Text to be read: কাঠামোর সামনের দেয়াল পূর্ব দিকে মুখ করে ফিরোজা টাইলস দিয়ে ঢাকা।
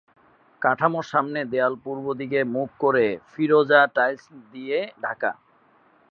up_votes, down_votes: 10, 2